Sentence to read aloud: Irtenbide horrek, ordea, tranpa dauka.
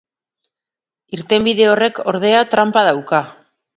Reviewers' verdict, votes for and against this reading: accepted, 2, 0